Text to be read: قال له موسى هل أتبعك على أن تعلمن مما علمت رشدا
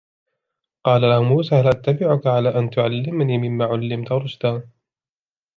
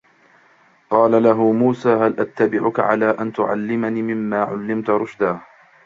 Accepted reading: first